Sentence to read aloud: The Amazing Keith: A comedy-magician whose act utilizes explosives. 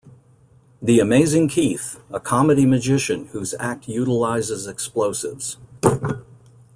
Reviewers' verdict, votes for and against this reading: accepted, 2, 0